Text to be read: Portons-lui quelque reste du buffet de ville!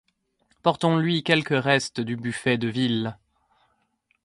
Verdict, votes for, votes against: accepted, 2, 0